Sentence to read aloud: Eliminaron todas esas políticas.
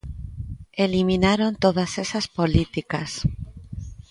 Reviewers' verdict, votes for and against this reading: accepted, 2, 0